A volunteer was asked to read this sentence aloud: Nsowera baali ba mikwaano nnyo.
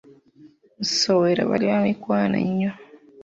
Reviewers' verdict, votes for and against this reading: rejected, 1, 2